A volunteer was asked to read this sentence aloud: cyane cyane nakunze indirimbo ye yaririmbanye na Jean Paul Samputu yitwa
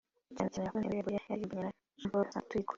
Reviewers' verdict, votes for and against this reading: rejected, 0, 2